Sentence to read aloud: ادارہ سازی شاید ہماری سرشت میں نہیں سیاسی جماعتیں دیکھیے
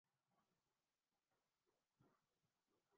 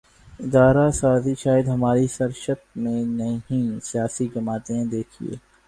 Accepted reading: second